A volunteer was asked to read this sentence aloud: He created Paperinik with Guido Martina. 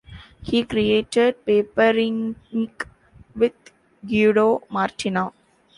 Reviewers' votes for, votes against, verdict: 1, 2, rejected